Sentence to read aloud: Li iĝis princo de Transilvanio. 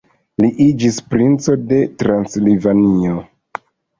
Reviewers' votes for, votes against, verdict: 0, 2, rejected